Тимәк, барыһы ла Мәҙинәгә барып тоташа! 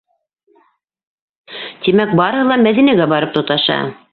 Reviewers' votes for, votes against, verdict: 2, 0, accepted